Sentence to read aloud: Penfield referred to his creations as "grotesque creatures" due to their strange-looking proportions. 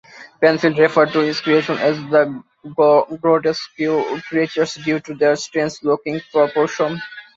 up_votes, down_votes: 0, 2